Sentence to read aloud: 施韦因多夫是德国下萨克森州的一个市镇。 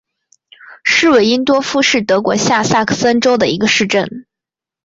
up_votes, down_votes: 3, 1